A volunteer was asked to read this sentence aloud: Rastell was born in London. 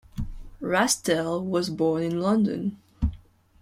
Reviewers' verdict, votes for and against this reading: accepted, 2, 0